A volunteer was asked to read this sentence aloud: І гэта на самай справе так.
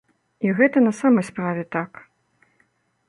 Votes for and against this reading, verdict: 2, 0, accepted